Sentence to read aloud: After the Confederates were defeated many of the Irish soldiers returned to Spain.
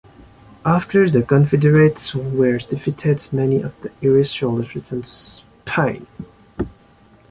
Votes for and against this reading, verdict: 0, 3, rejected